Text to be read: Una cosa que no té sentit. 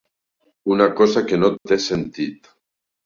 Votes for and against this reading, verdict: 5, 1, accepted